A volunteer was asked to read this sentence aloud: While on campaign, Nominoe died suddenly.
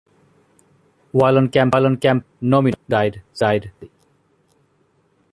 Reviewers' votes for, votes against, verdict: 0, 2, rejected